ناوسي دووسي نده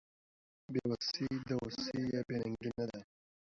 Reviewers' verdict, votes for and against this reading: accepted, 2, 0